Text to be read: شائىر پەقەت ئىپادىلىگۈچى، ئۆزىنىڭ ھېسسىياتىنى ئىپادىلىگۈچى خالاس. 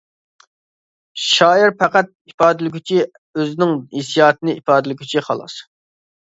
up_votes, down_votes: 2, 0